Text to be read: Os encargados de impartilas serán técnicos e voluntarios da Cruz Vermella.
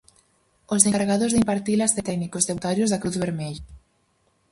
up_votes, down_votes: 2, 2